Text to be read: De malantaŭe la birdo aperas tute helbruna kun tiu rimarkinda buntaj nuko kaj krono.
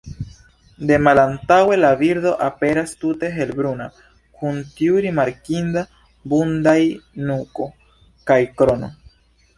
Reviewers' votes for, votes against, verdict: 0, 2, rejected